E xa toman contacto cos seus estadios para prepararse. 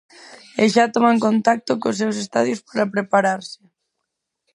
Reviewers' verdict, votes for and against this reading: rejected, 2, 2